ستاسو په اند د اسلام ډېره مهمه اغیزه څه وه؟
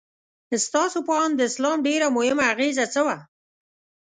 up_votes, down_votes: 2, 0